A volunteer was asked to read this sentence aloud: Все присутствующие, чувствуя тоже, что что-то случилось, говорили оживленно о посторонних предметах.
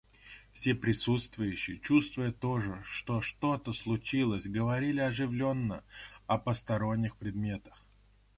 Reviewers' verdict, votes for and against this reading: rejected, 1, 2